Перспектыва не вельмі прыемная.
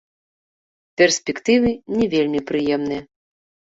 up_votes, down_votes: 0, 2